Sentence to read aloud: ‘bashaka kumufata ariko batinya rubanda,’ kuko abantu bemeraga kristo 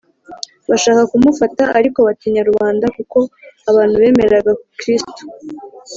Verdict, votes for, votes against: accepted, 2, 0